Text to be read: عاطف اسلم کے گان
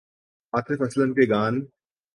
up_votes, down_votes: 2, 1